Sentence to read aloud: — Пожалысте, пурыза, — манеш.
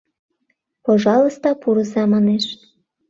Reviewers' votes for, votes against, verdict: 0, 2, rejected